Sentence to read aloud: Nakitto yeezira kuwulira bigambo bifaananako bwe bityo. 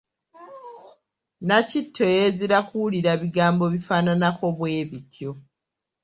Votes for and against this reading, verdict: 3, 0, accepted